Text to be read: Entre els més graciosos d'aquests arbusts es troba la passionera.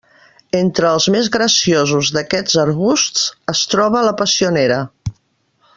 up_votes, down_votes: 2, 0